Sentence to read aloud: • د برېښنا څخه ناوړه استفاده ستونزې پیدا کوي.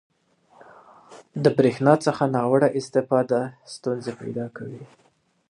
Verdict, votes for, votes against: accepted, 2, 0